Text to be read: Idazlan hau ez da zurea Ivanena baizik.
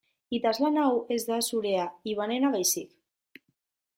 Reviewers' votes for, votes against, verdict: 2, 0, accepted